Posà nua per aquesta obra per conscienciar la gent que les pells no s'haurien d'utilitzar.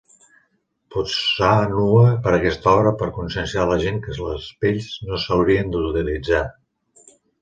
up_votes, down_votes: 1, 2